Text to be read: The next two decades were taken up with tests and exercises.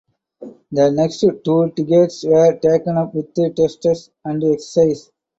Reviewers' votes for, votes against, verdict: 2, 0, accepted